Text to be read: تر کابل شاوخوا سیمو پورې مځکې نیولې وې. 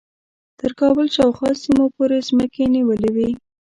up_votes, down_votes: 0, 2